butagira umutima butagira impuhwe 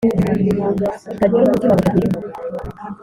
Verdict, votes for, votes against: rejected, 1, 2